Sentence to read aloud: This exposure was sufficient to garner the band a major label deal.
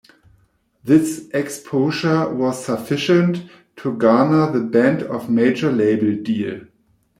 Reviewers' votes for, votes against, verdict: 0, 2, rejected